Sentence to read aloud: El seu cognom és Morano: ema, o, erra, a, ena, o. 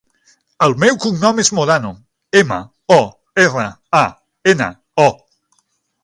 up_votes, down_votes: 0, 6